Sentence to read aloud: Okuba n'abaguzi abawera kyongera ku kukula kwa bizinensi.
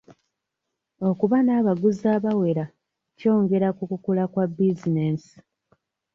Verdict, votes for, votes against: accepted, 2, 0